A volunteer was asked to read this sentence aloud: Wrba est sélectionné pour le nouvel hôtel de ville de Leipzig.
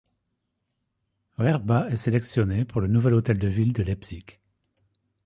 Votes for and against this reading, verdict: 1, 2, rejected